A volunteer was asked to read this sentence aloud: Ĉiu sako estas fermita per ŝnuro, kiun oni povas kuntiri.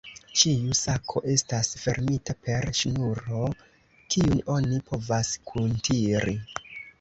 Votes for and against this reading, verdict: 1, 2, rejected